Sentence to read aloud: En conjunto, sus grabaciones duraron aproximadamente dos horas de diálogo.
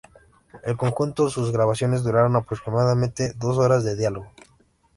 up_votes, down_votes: 2, 0